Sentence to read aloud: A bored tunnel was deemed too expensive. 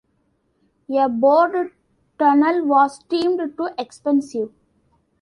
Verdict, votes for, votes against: accepted, 2, 1